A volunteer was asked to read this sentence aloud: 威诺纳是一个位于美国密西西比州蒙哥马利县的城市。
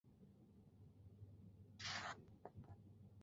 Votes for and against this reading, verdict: 0, 5, rejected